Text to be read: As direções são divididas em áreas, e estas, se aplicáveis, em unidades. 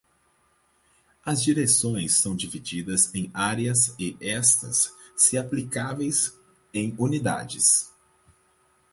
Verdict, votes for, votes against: accepted, 4, 0